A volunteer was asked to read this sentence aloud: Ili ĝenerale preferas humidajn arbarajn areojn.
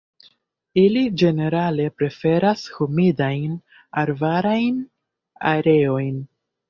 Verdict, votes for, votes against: accepted, 2, 0